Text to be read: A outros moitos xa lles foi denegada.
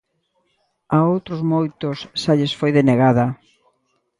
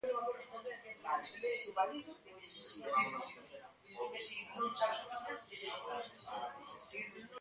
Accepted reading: first